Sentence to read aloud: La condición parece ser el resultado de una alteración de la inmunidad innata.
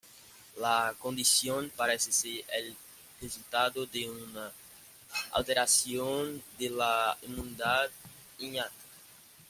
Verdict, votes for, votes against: rejected, 1, 2